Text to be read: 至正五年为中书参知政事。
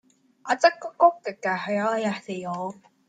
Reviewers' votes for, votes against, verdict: 0, 2, rejected